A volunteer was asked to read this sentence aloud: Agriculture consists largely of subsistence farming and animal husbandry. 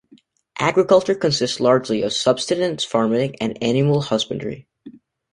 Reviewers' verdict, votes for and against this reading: rejected, 0, 2